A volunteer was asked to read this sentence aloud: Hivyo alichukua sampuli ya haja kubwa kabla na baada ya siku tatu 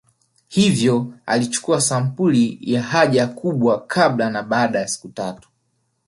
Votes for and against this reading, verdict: 2, 0, accepted